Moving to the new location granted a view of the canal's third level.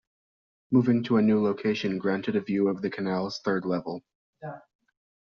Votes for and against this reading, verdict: 1, 2, rejected